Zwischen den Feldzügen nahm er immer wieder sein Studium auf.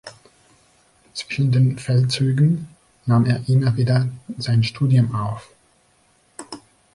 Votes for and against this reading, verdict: 1, 3, rejected